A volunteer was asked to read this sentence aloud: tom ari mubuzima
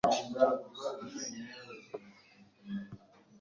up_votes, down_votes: 1, 2